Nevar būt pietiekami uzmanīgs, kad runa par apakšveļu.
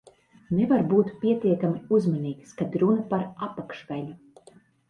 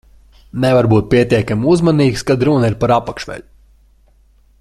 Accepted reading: first